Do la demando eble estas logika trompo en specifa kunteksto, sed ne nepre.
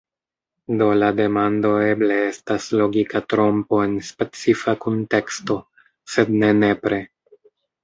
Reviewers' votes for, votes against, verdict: 3, 0, accepted